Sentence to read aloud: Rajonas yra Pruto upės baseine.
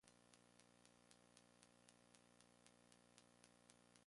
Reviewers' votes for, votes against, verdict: 0, 2, rejected